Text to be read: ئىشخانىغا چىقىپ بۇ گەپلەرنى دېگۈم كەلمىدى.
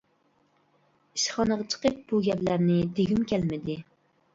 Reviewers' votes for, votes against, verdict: 2, 0, accepted